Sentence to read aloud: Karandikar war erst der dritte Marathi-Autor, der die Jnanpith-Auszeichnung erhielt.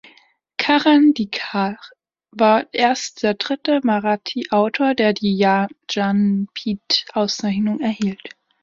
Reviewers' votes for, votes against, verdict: 2, 1, accepted